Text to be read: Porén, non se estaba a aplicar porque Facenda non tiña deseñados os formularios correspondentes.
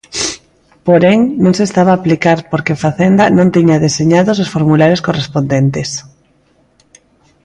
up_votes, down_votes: 2, 0